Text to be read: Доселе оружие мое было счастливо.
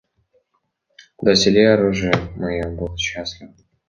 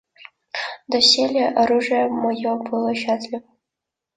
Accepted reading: second